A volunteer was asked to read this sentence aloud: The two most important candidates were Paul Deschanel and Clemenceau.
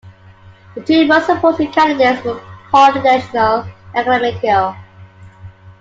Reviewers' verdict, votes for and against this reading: rejected, 1, 2